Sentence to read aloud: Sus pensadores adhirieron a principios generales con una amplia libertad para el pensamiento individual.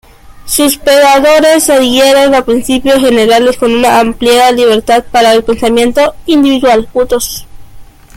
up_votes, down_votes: 0, 2